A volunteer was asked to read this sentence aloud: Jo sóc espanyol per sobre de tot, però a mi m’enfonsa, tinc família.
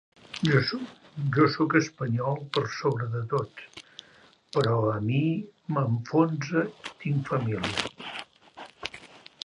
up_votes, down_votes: 0, 2